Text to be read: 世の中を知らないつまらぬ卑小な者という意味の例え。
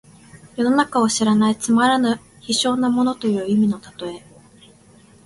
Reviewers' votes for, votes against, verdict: 2, 1, accepted